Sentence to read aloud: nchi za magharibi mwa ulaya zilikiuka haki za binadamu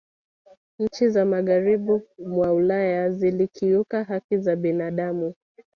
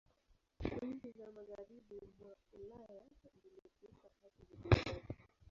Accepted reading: first